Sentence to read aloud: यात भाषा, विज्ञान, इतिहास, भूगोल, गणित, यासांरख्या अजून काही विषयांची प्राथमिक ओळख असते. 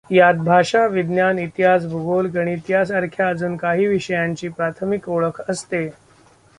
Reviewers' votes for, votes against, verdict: 2, 0, accepted